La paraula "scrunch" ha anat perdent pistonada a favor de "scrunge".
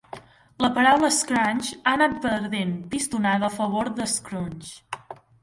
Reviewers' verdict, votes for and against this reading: rejected, 1, 2